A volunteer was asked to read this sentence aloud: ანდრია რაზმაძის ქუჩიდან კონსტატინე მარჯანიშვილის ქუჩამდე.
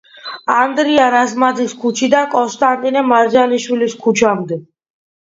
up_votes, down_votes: 2, 0